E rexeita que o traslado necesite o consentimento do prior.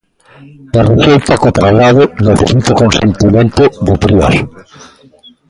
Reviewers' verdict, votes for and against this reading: rejected, 0, 2